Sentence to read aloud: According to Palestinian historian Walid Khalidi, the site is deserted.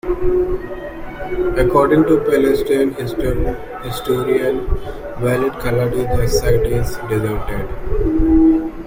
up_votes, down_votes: 1, 3